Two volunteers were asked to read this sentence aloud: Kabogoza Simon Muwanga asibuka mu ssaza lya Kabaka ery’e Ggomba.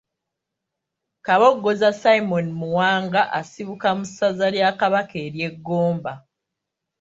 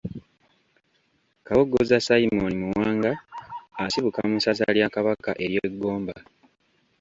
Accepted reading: first